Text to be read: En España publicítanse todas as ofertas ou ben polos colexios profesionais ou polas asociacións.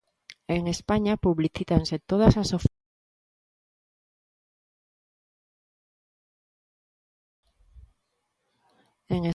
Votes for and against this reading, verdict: 0, 2, rejected